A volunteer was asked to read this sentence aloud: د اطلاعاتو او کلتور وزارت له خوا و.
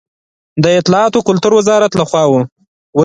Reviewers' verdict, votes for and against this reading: accepted, 2, 0